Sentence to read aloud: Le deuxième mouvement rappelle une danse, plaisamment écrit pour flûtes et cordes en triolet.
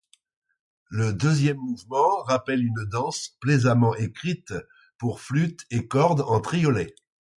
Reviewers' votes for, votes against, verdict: 0, 2, rejected